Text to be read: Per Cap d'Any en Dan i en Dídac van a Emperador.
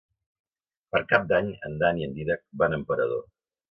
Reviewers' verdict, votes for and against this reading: accepted, 2, 0